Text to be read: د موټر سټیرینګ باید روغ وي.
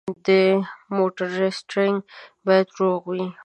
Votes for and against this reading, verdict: 2, 0, accepted